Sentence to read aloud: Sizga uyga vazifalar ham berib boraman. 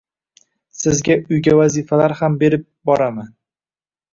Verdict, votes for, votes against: accepted, 2, 0